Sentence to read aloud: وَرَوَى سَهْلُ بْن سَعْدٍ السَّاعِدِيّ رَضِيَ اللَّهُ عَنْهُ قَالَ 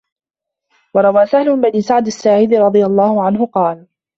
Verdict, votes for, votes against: accepted, 2, 0